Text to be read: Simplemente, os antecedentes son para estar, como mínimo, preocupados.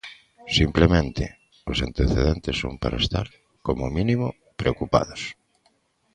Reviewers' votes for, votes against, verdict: 2, 0, accepted